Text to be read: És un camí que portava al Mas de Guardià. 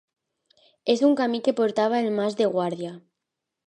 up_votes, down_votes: 2, 1